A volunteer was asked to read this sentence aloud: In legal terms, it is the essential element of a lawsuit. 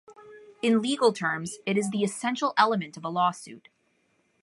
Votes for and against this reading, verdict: 2, 0, accepted